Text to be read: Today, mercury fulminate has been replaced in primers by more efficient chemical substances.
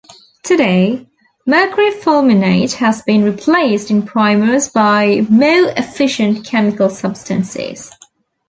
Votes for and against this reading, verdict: 0, 2, rejected